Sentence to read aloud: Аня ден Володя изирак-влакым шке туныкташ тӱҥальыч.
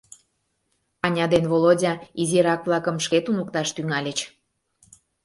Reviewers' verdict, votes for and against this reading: accepted, 2, 0